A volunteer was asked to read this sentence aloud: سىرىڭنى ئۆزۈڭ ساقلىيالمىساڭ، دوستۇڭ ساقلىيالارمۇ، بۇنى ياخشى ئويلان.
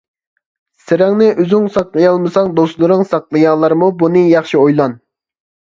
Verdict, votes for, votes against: rejected, 0, 2